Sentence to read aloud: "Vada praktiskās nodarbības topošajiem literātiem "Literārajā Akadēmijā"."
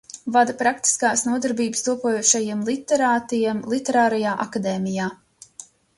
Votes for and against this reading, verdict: 0, 2, rejected